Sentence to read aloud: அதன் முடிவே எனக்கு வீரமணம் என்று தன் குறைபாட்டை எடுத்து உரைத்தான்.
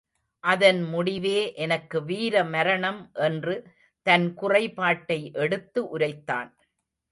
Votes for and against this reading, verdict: 1, 2, rejected